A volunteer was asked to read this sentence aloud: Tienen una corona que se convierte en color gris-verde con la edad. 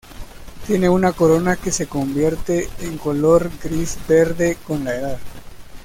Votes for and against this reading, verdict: 0, 2, rejected